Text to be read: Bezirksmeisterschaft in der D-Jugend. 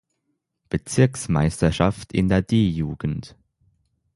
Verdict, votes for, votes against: accepted, 6, 0